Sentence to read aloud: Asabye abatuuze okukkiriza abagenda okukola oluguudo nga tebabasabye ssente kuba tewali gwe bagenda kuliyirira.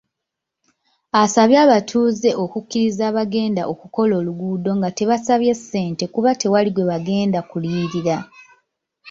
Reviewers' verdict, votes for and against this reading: rejected, 1, 2